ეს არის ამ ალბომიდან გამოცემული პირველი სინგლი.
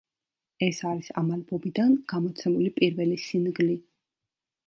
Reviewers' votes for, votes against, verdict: 2, 0, accepted